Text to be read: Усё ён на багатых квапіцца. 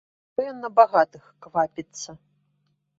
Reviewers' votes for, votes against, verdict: 0, 2, rejected